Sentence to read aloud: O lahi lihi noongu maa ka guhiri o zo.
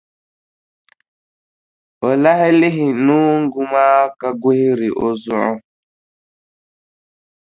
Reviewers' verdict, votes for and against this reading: rejected, 1, 2